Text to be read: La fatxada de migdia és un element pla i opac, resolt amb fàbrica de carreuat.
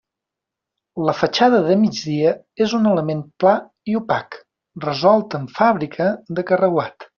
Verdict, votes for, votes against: accepted, 2, 0